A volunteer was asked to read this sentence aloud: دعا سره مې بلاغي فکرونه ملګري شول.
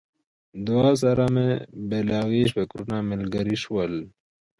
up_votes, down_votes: 2, 0